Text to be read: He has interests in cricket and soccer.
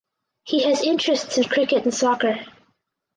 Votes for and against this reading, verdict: 2, 2, rejected